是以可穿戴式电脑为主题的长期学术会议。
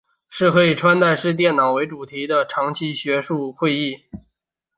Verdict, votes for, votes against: accepted, 3, 0